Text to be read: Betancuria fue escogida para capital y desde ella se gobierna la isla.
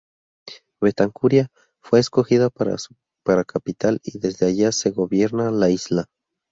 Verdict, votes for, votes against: rejected, 2, 2